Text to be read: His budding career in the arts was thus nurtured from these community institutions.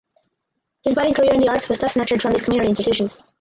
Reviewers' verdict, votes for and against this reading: rejected, 0, 4